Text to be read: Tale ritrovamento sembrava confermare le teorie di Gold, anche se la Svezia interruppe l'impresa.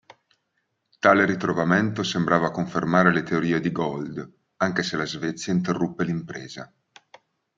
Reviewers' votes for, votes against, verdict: 2, 0, accepted